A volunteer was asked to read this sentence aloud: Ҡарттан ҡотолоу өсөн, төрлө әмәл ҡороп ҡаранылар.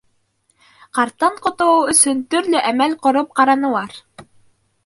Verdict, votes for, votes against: accepted, 2, 0